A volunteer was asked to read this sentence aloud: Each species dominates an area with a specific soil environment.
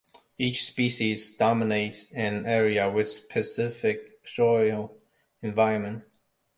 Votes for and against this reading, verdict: 1, 2, rejected